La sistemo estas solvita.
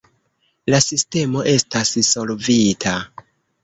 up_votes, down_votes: 2, 0